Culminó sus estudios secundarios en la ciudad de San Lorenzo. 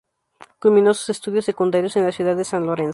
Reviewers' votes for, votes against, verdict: 0, 2, rejected